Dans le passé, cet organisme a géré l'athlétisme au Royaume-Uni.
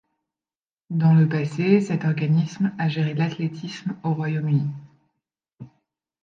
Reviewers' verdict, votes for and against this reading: accepted, 2, 0